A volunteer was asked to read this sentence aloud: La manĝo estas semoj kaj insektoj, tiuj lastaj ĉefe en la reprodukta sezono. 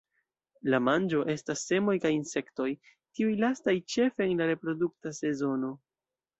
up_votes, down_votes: 2, 0